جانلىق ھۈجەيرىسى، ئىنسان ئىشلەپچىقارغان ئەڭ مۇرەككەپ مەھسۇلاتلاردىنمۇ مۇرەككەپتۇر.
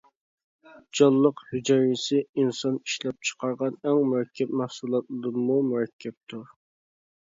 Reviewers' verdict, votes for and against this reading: rejected, 0, 2